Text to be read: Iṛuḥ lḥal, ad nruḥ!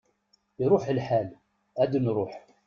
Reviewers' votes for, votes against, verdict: 0, 2, rejected